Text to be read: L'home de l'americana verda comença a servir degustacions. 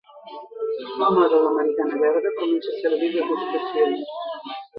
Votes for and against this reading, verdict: 3, 1, accepted